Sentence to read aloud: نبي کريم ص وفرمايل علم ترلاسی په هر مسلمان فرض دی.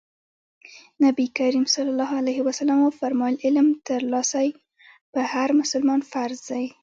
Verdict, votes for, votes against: rejected, 1, 2